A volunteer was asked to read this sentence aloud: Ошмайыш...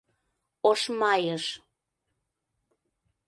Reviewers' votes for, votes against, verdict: 2, 0, accepted